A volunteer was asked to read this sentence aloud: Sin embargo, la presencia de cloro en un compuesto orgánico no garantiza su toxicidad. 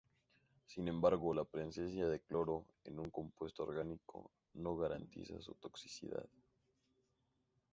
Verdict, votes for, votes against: accepted, 2, 0